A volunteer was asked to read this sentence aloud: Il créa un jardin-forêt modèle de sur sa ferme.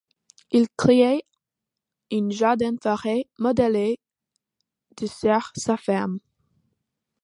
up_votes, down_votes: 2, 1